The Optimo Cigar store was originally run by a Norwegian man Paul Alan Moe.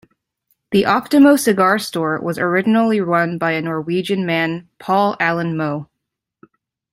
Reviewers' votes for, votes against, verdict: 2, 0, accepted